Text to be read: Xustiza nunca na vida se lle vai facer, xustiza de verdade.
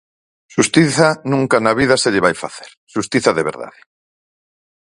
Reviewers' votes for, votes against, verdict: 4, 0, accepted